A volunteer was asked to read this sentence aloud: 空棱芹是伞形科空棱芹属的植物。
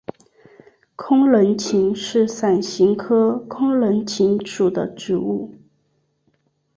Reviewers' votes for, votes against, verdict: 2, 0, accepted